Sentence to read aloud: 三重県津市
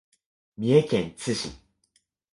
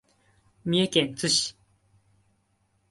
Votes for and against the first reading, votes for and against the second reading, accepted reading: 1, 2, 2, 0, second